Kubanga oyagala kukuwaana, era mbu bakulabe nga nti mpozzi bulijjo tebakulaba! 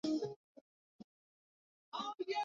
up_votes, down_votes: 0, 2